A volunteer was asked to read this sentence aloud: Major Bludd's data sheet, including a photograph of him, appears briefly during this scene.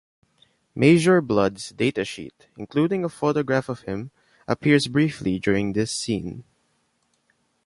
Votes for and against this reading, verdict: 2, 0, accepted